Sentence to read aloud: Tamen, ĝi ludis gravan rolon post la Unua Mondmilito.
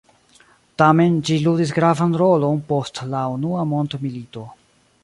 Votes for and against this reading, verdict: 2, 0, accepted